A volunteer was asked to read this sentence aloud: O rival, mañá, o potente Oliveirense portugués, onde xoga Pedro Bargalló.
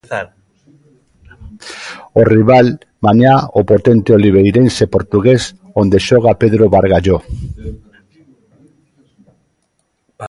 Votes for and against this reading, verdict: 1, 2, rejected